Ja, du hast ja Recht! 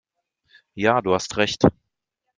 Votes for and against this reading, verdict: 2, 0, accepted